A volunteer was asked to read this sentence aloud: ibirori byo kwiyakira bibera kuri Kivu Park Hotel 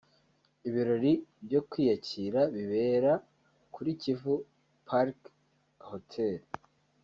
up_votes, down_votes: 1, 2